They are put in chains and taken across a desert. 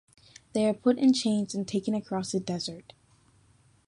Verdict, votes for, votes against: accepted, 2, 0